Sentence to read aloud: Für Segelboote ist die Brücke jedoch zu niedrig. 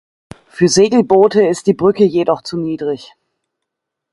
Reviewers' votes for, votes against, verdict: 2, 0, accepted